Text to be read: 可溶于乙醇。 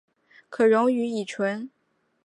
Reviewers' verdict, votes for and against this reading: accepted, 3, 0